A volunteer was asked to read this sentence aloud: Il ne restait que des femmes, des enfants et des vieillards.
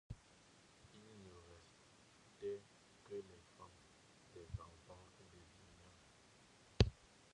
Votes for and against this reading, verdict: 0, 2, rejected